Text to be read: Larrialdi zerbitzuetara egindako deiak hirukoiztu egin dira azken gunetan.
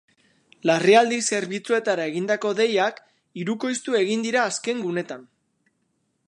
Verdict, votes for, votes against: accepted, 4, 0